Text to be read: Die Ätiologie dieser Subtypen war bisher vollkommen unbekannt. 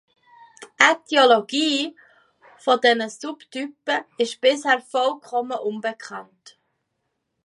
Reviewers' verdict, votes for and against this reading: rejected, 0, 2